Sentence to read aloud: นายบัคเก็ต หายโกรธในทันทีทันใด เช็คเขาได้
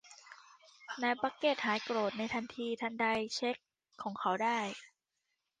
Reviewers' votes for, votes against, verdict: 0, 2, rejected